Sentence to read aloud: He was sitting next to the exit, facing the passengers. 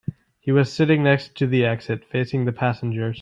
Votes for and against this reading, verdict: 2, 0, accepted